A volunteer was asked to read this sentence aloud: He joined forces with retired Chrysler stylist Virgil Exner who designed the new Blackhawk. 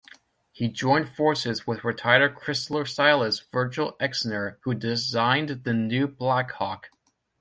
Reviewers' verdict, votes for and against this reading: rejected, 1, 2